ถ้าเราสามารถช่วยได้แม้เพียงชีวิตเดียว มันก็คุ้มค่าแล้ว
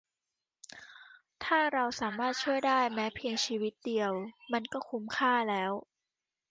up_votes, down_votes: 2, 1